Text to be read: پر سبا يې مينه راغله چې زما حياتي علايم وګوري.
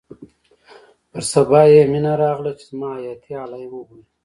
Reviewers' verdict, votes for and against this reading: accepted, 2, 0